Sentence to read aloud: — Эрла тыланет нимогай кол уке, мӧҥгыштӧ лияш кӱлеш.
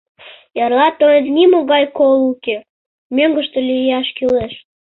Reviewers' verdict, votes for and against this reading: rejected, 1, 2